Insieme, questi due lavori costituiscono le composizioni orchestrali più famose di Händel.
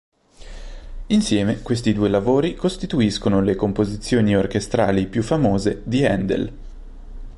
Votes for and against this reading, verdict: 2, 0, accepted